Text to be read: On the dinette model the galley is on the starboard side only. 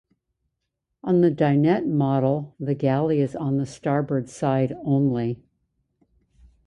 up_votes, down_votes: 2, 0